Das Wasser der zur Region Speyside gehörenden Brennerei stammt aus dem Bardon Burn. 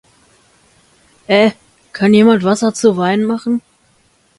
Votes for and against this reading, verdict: 0, 2, rejected